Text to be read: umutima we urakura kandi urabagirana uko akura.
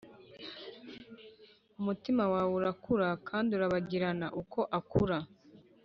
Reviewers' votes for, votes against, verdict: 0, 2, rejected